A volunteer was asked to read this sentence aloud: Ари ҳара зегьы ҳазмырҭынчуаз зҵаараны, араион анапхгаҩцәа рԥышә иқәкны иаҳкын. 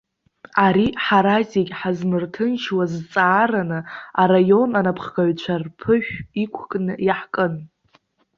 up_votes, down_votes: 2, 1